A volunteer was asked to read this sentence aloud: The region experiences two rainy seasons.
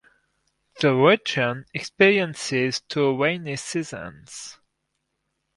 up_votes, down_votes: 2, 4